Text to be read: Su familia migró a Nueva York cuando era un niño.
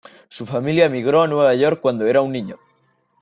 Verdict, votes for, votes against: accepted, 2, 0